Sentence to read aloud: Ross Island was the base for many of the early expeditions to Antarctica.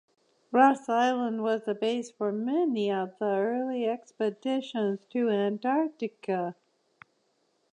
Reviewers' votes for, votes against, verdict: 2, 1, accepted